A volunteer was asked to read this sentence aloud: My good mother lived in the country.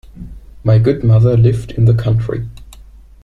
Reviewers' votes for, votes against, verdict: 2, 1, accepted